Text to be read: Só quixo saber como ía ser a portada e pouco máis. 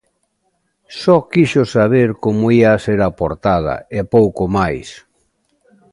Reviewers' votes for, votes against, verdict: 2, 0, accepted